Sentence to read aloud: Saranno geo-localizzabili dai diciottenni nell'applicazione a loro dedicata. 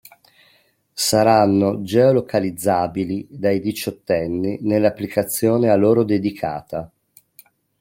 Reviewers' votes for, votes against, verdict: 2, 0, accepted